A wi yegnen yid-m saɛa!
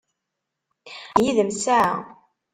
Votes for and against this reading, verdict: 1, 3, rejected